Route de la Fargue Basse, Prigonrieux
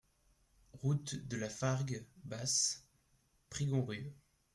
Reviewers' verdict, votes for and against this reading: accepted, 2, 1